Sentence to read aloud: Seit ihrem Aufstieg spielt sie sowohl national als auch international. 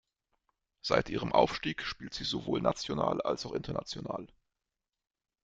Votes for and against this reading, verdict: 1, 2, rejected